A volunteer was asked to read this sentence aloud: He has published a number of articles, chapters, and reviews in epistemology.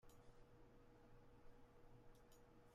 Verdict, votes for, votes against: rejected, 0, 2